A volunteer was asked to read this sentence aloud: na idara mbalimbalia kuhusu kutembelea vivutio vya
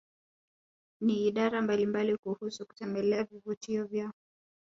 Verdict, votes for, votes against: rejected, 1, 2